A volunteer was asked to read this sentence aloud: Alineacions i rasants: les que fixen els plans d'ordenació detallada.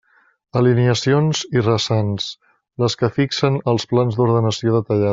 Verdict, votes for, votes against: rejected, 0, 2